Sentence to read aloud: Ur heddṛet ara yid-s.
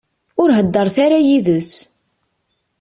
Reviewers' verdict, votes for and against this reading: rejected, 1, 2